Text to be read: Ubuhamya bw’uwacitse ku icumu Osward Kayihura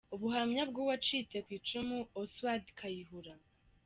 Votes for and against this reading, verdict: 2, 0, accepted